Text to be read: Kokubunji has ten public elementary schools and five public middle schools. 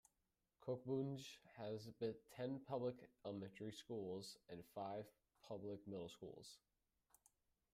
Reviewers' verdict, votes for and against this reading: rejected, 0, 2